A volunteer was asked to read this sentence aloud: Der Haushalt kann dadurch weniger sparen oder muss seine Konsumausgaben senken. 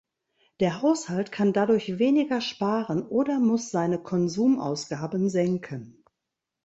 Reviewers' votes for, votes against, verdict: 2, 0, accepted